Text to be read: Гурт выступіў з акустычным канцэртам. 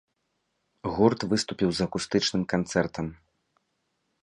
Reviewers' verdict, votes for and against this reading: accepted, 2, 0